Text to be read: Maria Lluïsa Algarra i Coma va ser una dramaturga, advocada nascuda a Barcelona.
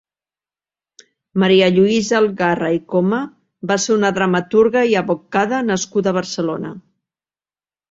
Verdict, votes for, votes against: rejected, 0, 2